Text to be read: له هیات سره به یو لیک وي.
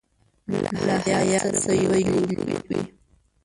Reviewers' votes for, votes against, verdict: 1, 2, rejected